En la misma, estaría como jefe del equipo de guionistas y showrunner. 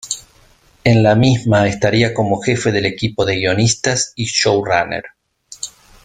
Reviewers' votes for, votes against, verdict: 2, 0, accepted